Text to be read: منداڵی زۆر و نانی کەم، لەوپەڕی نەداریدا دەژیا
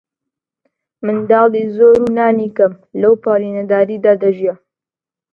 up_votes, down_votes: 2, 0